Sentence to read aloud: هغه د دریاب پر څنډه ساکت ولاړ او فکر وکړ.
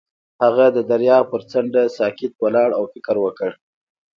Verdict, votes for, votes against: accepted, 2, 0